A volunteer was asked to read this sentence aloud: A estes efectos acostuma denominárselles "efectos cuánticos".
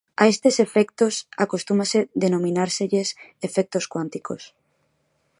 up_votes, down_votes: 1, 2